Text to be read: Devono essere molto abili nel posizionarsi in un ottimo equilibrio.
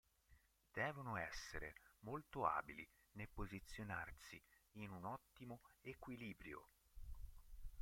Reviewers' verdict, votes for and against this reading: rejected, 0, 2